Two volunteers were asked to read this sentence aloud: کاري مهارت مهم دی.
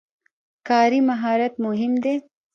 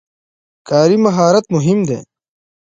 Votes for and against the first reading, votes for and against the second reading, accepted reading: 0, 2, 2, 0, second